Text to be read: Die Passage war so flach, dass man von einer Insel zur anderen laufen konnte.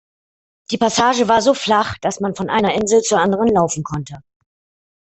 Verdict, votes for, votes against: rejected, 1, 2